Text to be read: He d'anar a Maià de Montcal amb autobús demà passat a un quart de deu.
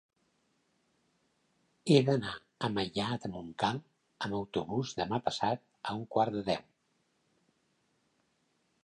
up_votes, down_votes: 1, 2